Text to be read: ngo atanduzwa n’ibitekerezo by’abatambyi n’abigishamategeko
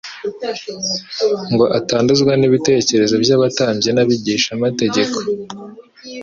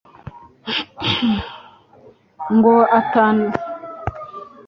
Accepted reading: first